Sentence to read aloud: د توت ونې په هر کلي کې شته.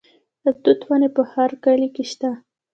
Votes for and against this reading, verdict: 1, 2, rejected